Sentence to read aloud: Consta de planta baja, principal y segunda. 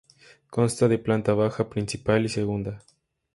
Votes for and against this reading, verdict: 2, 0, accepted